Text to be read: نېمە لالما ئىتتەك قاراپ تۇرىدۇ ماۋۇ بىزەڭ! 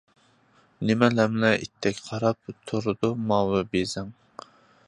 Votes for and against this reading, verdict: 0, 2, rejected